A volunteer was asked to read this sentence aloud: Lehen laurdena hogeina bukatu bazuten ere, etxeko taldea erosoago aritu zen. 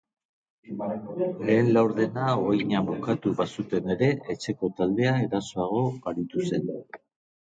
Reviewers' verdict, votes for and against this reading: rejected, 2, 3